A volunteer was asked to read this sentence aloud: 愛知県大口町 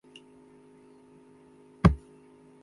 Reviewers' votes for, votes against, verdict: 0, 2, rejected